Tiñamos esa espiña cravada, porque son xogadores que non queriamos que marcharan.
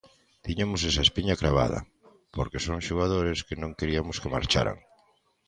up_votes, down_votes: 0, 2